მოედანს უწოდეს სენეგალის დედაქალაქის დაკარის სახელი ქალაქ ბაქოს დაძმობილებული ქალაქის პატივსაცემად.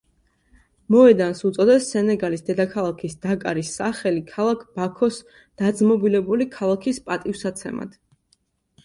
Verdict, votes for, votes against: accepted, 3, 0